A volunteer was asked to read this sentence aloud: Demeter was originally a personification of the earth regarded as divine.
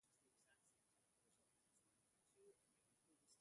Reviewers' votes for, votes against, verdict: 0, 2, rejected